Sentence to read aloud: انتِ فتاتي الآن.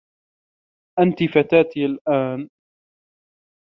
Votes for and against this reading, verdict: 2, 0, accepted